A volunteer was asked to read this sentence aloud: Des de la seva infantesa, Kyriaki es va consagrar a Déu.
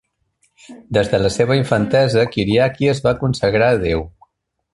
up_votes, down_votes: 2, 1